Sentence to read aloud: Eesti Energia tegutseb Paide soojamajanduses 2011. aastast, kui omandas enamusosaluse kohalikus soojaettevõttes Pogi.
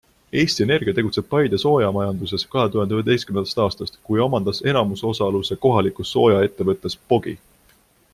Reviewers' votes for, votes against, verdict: 0, 2, rejected